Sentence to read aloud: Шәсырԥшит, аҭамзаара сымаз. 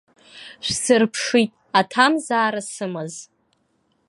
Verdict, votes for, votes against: accepted, 2, 0